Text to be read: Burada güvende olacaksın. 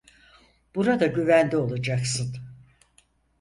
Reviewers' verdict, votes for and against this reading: accepted, 4, 0